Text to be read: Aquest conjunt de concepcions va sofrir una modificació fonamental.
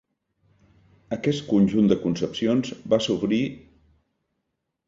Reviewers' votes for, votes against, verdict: 1, 2, rejected